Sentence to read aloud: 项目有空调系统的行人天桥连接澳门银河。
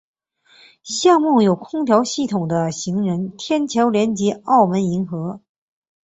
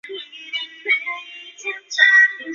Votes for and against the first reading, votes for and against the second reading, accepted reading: 3, 0, 1, 2, first